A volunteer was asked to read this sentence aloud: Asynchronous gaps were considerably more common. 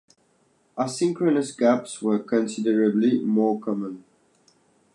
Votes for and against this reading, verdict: 2, 0, accepted